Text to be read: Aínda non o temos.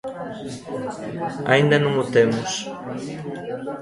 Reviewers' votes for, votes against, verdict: 1, 2, rejected